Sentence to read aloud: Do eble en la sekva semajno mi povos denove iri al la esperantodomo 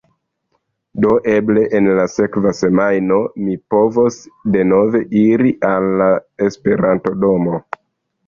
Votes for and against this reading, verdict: 3, 0, accepted